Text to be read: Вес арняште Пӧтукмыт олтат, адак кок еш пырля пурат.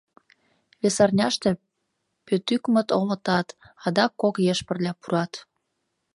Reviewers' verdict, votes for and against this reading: rejected, 1, 2